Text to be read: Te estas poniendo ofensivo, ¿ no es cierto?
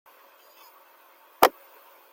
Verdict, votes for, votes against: rejected, 0, 2